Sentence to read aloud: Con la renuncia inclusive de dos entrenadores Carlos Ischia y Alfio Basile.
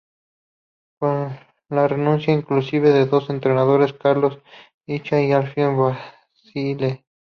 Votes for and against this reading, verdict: 2, 0, accepted